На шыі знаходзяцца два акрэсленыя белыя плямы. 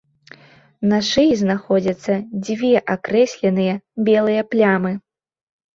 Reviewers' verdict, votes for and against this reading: accepted, 2, 0